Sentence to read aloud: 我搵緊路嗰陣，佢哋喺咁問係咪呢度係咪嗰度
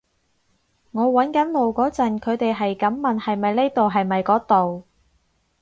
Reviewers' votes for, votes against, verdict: 2, 2, rejected